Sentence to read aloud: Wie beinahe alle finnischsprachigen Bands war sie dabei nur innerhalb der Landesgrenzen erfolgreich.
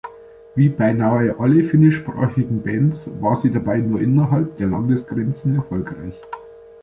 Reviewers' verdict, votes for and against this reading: rejected, 0, 2